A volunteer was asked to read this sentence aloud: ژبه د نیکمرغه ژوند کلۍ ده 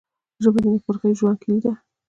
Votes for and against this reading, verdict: 1, 2, rejected